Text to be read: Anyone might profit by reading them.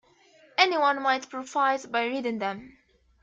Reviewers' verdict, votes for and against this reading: rejected, 0, 2